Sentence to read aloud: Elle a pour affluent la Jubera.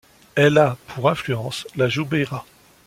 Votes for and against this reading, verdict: 1, 2, rejected